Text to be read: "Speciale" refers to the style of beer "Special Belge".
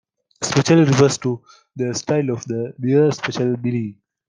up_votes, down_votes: 0, 2